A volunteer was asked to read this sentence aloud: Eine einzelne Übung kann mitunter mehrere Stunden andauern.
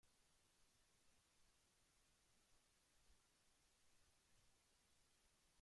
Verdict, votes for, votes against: rejected, 0, 2